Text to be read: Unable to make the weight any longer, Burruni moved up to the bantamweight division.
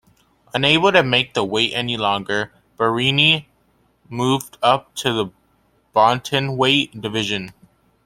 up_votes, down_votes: 1, 2